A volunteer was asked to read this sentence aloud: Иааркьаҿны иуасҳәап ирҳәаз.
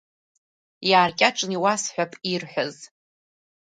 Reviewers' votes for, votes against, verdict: 2, 1, accepted